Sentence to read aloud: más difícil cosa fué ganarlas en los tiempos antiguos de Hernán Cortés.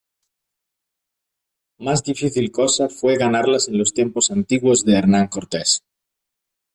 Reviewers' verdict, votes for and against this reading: accepted, 2, 0